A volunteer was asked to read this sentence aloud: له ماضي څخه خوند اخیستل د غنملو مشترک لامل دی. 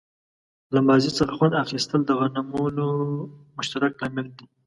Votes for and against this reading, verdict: 1, 2, rejected